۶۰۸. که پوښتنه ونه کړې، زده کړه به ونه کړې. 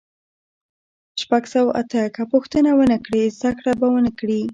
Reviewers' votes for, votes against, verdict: 0, 2, rejected